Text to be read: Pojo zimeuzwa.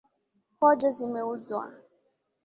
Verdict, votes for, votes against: accepted, 2, 0